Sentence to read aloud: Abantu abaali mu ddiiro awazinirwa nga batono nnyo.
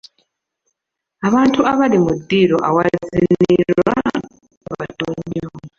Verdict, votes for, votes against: rejected, 0, 2